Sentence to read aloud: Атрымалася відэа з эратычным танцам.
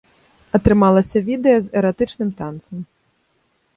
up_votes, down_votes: 2, 0